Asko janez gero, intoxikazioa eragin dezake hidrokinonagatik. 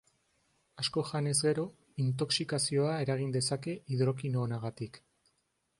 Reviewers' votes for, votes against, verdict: 2, 0, accepted